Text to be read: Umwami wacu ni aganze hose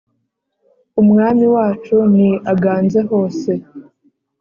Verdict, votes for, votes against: accepted, 2, 0